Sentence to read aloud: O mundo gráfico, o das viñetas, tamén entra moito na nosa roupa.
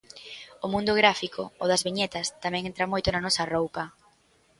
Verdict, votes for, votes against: accepted, 2, 0